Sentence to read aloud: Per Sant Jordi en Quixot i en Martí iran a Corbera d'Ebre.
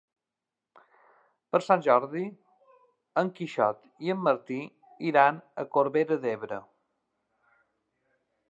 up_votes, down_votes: 4, 0